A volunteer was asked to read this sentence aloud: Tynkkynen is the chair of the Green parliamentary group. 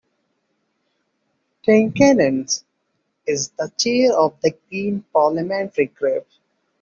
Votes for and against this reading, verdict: 2, 0, accepted